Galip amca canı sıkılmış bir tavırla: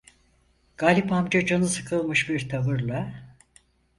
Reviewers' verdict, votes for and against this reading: accepted, 4, 0